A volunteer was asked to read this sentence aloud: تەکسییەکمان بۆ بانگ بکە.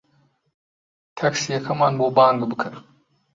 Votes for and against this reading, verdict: 0, 2, rejected